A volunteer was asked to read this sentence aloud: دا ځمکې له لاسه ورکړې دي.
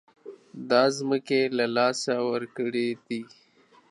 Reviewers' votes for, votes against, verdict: 2, 0, accepted